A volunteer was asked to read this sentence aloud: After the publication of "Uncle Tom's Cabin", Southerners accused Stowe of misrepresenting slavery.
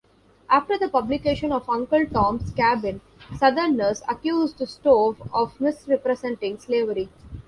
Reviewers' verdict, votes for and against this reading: accepted, 2, 0